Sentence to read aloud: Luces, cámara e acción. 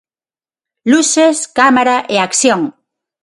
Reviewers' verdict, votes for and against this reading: accepted, 6, 0